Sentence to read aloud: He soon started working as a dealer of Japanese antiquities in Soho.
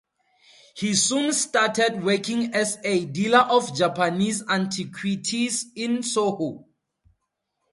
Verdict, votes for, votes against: accepted, 4, 0